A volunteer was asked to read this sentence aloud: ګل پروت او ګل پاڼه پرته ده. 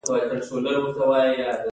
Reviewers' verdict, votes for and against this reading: rejected, 1, 2